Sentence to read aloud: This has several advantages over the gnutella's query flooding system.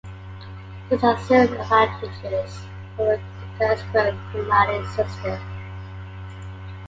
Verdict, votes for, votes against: rejected, 1, 2